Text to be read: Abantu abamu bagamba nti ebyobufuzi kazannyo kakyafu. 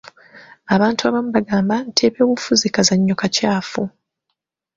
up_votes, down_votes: 3, 0